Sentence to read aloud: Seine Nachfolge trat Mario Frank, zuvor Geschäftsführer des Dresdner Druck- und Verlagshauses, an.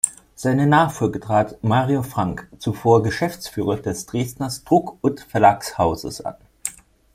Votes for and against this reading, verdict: 1, 2, rejected